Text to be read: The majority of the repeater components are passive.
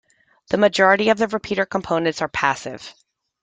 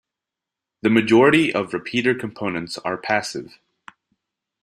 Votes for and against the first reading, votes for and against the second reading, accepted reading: 2, 0, 0, 2, first